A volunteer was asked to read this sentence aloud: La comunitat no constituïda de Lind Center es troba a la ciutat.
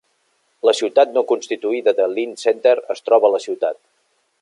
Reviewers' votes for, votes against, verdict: 1, 2, rejected